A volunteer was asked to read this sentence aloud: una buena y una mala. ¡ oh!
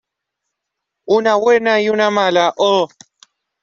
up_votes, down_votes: 2, 1